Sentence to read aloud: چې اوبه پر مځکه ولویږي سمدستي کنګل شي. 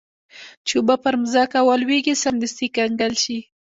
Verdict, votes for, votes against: accepted, 2, 1